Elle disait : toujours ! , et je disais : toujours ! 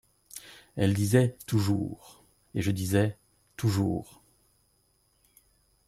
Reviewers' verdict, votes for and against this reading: accepted, 2, 0